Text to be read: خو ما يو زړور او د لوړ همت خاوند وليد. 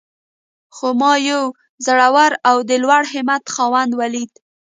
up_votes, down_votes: 0, 2